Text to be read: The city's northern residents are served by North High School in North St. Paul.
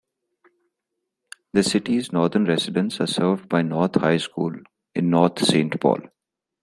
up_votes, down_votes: 2, 0